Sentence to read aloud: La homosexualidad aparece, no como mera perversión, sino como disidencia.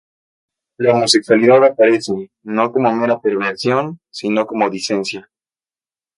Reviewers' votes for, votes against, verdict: 0, 2, rejected